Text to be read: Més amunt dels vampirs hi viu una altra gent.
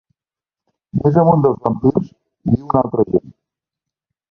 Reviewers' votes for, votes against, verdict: 0, 2, rejected